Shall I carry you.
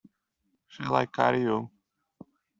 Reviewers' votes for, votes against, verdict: 1, 2, rejected